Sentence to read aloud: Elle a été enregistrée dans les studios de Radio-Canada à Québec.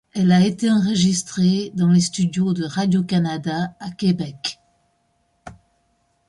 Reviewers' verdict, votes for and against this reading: accepted, 2, 0